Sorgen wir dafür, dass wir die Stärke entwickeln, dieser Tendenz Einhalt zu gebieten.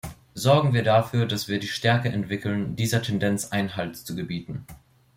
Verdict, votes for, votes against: accepted, 2, 0